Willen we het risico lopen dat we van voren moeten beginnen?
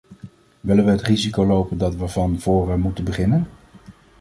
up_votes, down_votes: 2, 0